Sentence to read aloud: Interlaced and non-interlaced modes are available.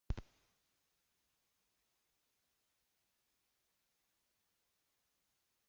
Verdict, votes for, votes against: rejected, 0, 2